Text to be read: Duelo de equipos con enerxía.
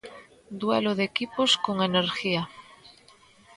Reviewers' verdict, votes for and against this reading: rejected, 0, 2